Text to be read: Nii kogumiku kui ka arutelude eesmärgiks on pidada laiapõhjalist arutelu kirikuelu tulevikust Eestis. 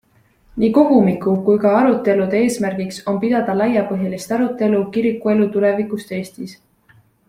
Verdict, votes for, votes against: accepted, 2, 0